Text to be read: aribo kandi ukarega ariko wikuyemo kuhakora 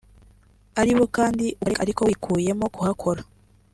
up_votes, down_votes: 1, 2